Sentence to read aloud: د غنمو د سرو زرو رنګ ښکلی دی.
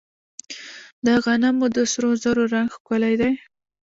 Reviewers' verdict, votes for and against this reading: rejected, 0, 2